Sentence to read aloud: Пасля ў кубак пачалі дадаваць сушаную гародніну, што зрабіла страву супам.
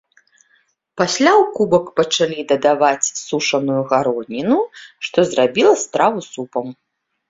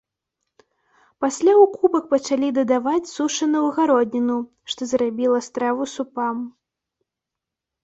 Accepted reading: first